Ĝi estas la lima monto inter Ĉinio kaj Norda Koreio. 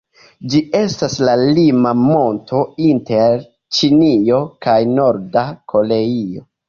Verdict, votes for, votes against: rejected, 1, 2